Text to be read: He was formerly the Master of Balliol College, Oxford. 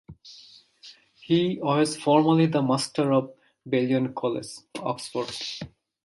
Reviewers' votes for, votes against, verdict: 1, 2, rejected